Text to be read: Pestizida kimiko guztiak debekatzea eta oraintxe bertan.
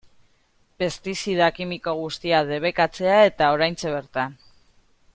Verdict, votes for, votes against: accepted, 2, 0